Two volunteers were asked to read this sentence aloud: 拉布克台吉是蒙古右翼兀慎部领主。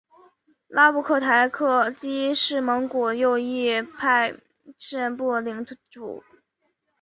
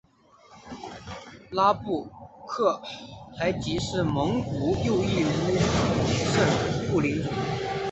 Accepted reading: first